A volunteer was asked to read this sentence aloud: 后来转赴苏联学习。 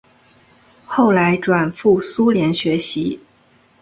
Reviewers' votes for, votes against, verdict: 3, 0, accepted